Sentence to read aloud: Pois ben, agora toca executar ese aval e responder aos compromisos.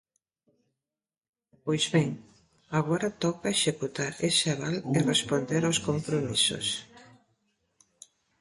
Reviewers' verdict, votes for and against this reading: accepted, 2, 0